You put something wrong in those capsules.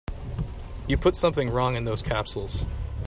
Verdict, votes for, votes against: accepted, 3, 0